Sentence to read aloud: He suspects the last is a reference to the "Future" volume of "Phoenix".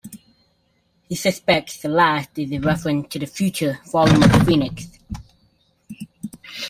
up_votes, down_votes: 2, 0